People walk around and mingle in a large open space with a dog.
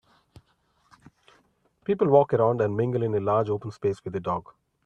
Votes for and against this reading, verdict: 2, 0, accepted